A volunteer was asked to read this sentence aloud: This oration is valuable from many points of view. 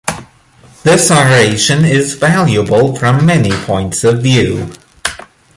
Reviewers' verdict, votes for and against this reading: accepted, 2, 0